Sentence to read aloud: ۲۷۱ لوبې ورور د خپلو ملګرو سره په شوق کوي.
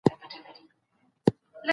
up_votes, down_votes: 0, 2